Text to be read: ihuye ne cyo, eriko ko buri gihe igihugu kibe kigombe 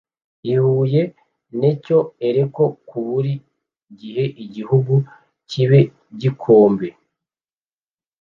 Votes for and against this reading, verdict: 1, 2, rejected